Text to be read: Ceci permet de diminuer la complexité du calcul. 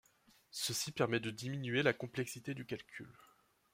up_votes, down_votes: 2, 0